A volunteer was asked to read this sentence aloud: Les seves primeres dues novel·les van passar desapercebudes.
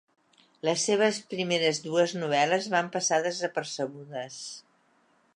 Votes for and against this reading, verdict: 4, 0, accepted